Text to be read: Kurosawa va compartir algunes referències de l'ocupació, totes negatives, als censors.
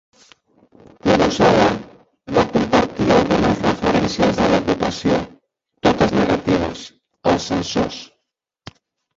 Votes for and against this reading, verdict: 0, 2, rejected